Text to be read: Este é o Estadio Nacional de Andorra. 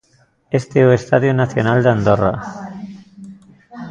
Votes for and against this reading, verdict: 2, 0, accepted